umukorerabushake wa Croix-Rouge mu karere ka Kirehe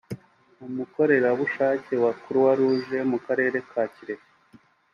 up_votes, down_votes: 3, 0